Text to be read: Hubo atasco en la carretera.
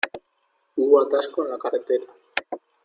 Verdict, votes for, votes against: accepted, 2, 0